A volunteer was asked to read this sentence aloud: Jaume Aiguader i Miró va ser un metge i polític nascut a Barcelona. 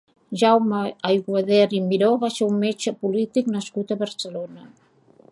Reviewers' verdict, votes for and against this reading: rejected, 0, 2